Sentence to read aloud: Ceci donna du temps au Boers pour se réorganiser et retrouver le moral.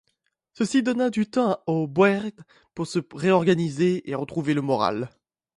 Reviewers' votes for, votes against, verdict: 1, 2, rejected